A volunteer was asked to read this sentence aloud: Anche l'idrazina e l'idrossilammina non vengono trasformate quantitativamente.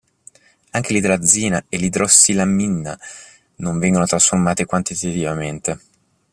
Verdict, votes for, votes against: rejected, 2, 3